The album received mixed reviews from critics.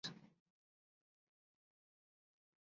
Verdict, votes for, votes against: rejected, 0, 2